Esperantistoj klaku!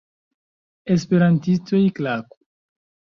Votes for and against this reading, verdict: 1, 2, rejected